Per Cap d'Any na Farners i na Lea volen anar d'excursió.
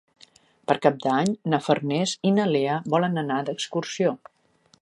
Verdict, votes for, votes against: accepted, 4, 0